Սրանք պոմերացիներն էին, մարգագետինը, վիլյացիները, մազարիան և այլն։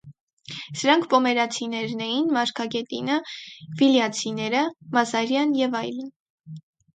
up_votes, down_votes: 4, 0